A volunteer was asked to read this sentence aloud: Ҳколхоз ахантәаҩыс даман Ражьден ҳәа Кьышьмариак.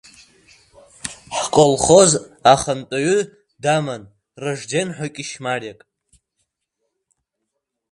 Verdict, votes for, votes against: accepted, 2, 1